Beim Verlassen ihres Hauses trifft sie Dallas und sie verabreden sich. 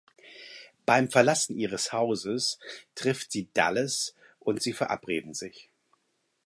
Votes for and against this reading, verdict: 4, 0, accepted